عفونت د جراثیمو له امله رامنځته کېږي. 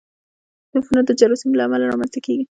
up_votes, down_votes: 0, 2